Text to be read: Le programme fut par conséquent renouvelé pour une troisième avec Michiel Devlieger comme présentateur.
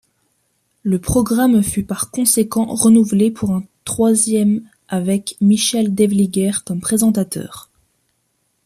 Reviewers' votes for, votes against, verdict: 1, 2, rejected